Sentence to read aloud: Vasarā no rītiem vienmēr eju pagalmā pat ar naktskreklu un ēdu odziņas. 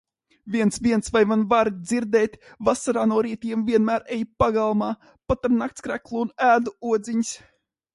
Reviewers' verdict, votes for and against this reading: rejected, 0, 2